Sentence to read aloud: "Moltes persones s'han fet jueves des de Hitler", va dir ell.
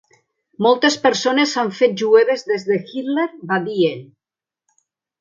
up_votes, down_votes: 0, 2